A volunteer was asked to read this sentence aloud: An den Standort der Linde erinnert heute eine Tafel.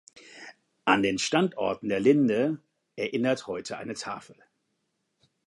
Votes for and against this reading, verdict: 2, 1, accepted